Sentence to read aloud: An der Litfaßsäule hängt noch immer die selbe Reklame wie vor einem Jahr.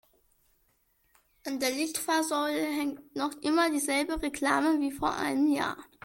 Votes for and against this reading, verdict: 2, 0, accepted